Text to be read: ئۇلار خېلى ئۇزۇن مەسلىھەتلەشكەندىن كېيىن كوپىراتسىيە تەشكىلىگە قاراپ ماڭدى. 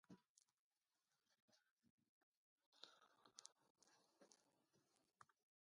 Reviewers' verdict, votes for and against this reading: rejected, 0, 2